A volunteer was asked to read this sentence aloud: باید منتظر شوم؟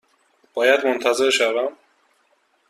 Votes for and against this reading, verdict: 2, 0, accepted